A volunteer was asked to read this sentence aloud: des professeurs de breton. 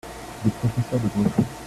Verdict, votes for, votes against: rejected, 0, 2